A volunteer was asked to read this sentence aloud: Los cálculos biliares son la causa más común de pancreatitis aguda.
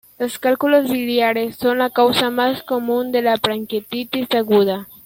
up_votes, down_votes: 1, 2